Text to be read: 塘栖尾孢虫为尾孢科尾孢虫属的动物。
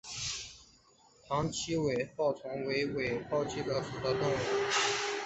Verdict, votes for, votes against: rejected, 0, 2